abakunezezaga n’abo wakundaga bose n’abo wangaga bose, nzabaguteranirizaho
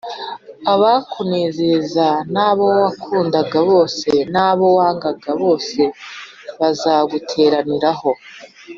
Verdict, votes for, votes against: rejected, 1, 2